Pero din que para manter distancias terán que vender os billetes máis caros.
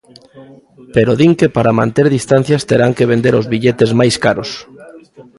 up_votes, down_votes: 1, 2